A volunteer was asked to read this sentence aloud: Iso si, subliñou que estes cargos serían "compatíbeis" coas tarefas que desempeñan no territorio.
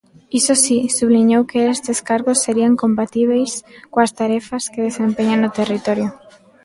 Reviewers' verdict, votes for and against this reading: rejected, 0, 2